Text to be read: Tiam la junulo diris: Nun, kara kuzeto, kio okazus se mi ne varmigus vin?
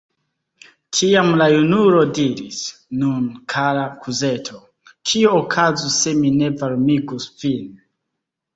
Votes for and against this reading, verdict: 2, 1, accepted